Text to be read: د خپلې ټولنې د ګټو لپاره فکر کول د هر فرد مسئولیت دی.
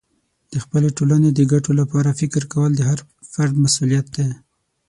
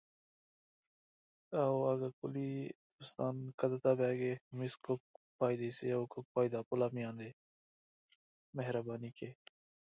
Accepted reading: first